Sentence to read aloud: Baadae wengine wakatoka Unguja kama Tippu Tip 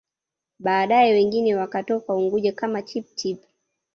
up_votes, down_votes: 1, 2